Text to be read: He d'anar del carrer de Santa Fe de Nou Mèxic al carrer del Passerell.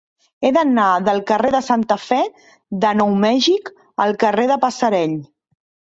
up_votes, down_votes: 0, 2